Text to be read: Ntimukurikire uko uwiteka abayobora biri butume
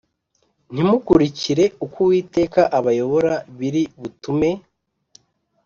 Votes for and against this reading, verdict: 2, 0, accepted